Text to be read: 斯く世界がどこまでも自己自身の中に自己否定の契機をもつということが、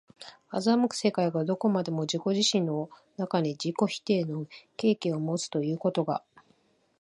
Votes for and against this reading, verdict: 2, 0, accepted